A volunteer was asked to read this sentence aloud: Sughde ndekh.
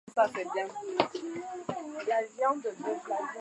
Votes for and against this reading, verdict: 0, 2, rejected